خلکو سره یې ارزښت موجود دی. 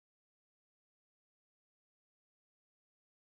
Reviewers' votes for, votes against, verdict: 1, 2, rejected